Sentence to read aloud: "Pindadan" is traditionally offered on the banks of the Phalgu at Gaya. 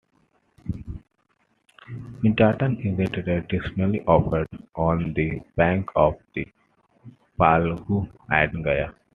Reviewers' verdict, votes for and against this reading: rejected, 0, 2